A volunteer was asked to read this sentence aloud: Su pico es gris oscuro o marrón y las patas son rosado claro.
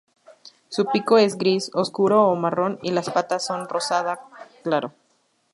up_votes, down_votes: 0, 2